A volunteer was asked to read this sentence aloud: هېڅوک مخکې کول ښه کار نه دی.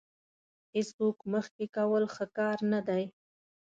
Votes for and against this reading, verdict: 4, 0, accepted